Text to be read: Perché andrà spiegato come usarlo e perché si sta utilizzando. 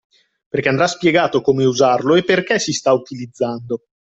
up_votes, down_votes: 2, 0